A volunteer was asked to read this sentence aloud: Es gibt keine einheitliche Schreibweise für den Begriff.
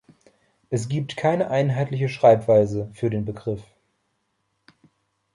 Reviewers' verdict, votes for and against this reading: accepted, 2, 0